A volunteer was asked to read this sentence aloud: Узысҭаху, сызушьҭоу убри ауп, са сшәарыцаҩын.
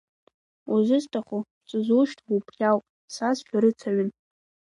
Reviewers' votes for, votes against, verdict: 2, 0, accepted